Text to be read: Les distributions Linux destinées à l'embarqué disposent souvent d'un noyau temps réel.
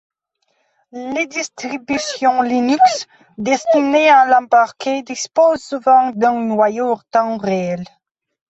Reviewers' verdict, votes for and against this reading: rejected, 0, 2